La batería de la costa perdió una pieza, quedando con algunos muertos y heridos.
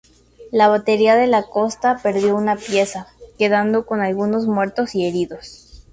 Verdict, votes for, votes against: accepted, 2, 0